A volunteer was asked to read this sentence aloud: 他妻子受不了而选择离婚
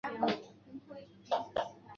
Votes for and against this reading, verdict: 0, 2, rejected